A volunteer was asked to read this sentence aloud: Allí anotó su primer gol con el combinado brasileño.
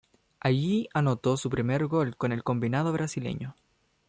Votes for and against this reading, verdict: 2, 0, accepted